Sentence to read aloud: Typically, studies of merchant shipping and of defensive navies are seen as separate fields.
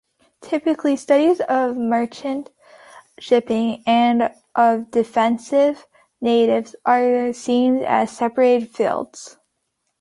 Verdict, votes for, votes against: rejected, 1, 2